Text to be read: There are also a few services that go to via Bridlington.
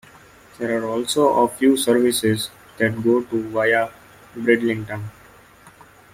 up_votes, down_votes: 0, 2